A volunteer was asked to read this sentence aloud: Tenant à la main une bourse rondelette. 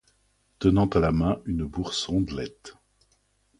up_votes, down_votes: 2, 0